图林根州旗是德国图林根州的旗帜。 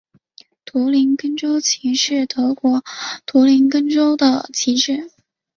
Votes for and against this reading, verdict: 9, 1, accepted